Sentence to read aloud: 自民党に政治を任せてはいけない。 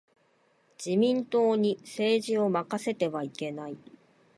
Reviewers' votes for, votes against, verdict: 2, 0, accepted